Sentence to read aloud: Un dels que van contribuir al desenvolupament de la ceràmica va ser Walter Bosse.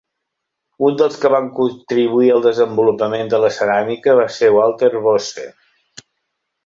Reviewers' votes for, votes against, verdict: 0, 2, rejected